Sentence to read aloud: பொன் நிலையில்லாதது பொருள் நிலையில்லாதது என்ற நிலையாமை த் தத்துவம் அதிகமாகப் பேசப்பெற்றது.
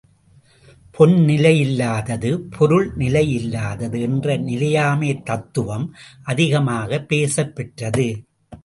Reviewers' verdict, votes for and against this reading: rejected, 1, 2